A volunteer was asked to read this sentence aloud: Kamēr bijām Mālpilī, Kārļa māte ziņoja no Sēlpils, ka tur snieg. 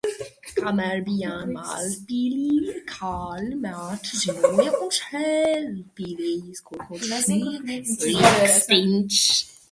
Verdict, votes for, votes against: rejected, 0, 2